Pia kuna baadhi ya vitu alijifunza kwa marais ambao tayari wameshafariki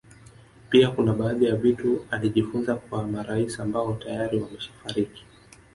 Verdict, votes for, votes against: rejected, 1, 2